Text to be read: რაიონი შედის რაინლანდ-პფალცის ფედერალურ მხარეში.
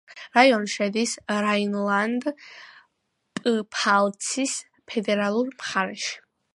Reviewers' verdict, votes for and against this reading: accepted, 2, 1